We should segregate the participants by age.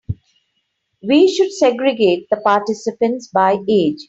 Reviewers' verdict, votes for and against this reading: accepted, 3, 0